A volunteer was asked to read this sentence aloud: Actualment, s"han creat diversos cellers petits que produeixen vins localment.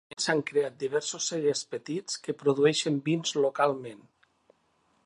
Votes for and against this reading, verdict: 1, 2, rejected